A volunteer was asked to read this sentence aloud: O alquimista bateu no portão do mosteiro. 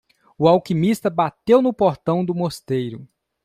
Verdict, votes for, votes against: accepted, 2, 0